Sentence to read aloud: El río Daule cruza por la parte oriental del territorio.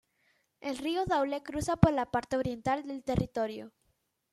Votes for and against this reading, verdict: 2, 0, accepted